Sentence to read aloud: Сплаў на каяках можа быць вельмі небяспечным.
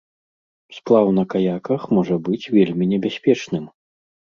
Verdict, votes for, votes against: accepted, 2, 0